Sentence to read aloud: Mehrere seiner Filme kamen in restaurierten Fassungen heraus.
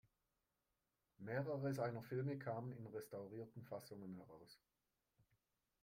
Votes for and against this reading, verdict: 2, 0, accepted